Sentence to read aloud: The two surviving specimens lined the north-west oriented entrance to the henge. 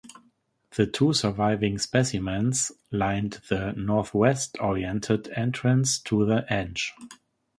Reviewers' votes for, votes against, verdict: 3, 3, rejected